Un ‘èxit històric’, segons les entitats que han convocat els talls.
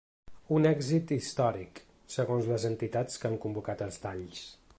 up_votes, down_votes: 2, 0